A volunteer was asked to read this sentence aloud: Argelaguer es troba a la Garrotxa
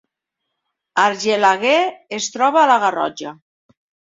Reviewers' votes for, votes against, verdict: 2, 0, accepted